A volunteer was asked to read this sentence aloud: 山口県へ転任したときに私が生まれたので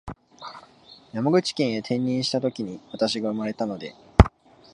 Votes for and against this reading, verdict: 4, 0, accepted